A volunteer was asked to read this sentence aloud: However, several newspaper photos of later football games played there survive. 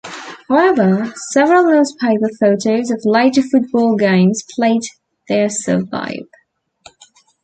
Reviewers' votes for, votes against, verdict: 2, 0, accepted